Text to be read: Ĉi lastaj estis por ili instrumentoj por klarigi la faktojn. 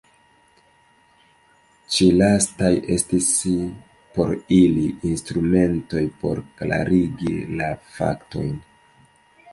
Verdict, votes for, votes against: rejected, 1, 2